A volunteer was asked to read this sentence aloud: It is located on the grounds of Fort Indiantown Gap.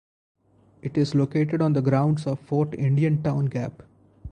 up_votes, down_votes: 0, 2